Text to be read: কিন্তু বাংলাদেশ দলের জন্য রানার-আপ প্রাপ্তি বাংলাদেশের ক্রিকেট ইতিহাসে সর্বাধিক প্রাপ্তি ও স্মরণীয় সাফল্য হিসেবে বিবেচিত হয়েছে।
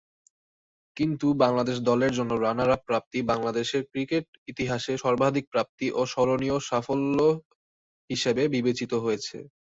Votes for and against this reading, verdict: 1, 2, rejected